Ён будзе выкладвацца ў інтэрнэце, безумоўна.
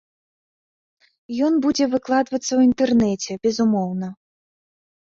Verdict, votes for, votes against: accepted, 2, 0